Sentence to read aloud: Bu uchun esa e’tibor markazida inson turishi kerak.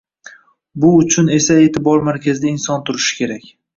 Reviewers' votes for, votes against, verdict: 2, 0, accepted